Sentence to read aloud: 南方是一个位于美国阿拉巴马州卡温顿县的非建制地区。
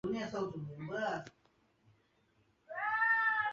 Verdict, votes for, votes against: rejected, 0, 2